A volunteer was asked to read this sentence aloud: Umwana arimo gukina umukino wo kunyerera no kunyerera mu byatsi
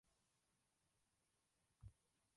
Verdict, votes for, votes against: rejected, 1, 2